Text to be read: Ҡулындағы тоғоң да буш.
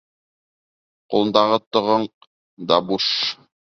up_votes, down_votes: 0, 2